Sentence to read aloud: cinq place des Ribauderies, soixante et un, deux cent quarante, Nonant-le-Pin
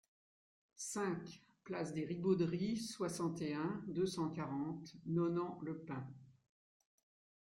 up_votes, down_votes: 2, 0